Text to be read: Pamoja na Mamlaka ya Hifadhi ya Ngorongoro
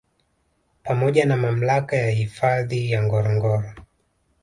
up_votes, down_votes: 1, 2